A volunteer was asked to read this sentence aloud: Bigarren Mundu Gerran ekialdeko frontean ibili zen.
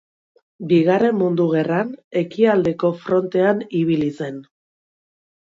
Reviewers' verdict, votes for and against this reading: accepted, 2, 0